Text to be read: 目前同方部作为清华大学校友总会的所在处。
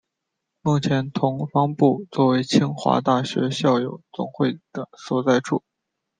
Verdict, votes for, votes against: accepted, 2, 0